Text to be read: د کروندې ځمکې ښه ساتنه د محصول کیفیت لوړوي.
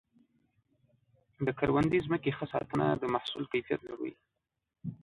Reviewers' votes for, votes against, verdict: 2, 1, accepted